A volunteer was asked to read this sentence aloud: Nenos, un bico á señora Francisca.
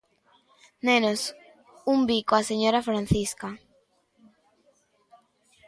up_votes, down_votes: 2, 0